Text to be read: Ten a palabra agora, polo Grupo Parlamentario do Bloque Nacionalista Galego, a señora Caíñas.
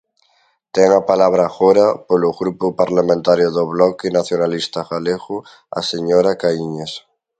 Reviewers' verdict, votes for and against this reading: accepted, 2, 0